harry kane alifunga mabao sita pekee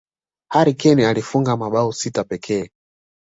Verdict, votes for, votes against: accepted, 2, 0